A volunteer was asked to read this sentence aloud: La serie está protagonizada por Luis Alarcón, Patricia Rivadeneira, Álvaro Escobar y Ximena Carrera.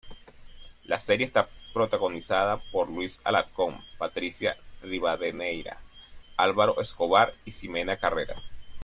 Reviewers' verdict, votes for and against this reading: accepted, 2, 1